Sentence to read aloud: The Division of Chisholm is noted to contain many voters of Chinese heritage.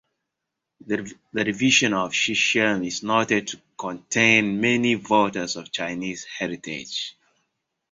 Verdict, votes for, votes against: rejected, 1, 2